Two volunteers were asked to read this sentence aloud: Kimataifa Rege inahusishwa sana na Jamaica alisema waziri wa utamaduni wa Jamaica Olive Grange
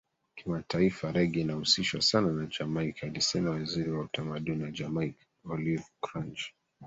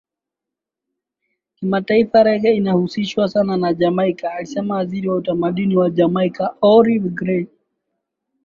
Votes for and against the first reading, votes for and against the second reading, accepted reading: 1, 2, 12, 1, second